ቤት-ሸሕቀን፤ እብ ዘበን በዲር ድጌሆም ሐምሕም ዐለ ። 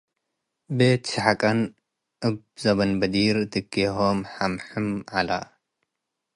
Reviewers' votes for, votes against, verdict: 2, 0, accepted